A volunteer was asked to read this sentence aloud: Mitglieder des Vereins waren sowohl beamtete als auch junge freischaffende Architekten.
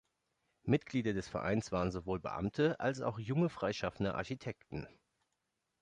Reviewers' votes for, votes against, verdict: 0, 2, rejected